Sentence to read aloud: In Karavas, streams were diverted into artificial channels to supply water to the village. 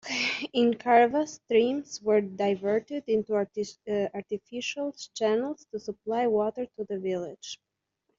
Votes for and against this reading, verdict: 0, 2, rejected